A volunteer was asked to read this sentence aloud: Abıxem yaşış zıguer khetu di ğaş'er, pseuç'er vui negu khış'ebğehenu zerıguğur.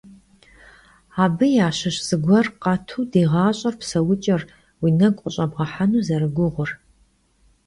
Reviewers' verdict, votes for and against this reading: rejected, 1, 2